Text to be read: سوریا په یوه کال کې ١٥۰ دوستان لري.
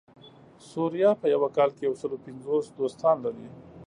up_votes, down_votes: 0, 2